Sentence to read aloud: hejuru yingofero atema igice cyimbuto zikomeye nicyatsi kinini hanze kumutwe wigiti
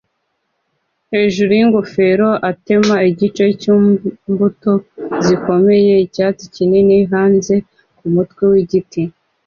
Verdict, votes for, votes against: accepted, 2, 0